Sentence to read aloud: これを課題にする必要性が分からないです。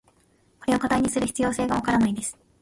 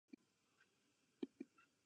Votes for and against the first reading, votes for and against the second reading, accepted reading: 2, 0, 1, 2, first